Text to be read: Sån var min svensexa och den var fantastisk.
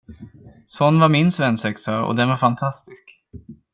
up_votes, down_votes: 2, 0